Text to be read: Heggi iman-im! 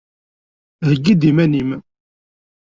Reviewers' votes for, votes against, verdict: 1, 2, rejected